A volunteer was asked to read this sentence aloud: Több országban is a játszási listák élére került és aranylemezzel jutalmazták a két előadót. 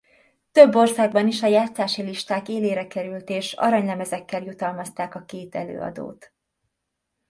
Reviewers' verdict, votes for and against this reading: rejected, 1, 2